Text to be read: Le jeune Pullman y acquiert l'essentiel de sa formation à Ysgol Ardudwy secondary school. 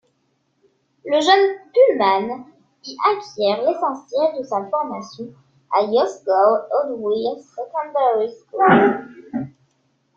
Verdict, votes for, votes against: rejected, 0, 2